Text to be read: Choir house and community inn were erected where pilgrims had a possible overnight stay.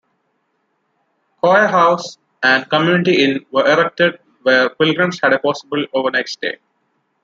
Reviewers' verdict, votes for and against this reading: accepted, 2, 1